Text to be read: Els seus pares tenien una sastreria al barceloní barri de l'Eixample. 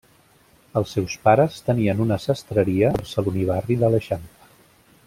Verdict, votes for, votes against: rejected, 0, 2